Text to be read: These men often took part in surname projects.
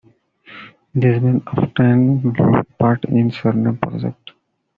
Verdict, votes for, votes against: accepted, 2, 1